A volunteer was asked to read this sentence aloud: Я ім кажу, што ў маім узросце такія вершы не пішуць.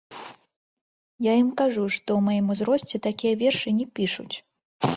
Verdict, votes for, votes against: rejected, 0, 2